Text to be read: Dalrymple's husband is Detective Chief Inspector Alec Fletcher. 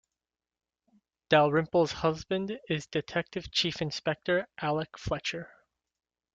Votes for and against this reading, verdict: 2, 0, accepted